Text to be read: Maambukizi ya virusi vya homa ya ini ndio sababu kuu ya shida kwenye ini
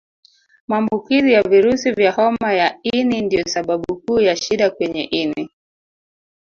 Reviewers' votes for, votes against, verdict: 1, 2, rejected